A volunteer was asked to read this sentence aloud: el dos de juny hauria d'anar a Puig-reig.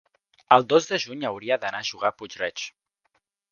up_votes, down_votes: 1, 2